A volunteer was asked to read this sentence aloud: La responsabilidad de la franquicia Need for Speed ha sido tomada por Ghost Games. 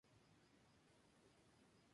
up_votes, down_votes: 0, 4